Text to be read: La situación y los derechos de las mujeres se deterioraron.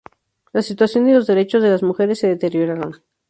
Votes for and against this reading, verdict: 4, 0, accepted